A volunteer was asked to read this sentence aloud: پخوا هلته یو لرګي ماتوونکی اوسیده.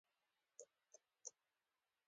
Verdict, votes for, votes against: rejected, 0, 2